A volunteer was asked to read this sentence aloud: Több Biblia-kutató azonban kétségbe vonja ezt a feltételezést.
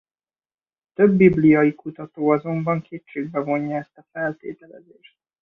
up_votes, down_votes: 1, 3